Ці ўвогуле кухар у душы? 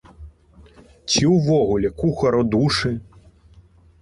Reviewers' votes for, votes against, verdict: 1, 2, rejected